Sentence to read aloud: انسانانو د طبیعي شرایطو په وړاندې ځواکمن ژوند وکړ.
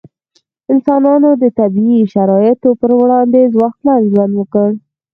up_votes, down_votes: 2, 4